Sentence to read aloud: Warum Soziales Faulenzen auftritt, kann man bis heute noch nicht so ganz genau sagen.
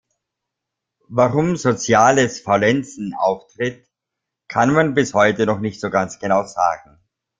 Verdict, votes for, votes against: rejected, 0, 2